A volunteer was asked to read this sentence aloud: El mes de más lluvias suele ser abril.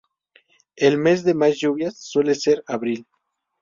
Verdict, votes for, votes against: accepted, 2, 0